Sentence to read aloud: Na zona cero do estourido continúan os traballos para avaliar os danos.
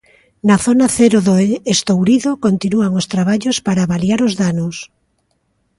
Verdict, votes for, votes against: rejected, 1, 2